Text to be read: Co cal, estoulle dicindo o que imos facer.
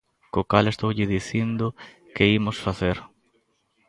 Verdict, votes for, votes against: rejected, 0, 2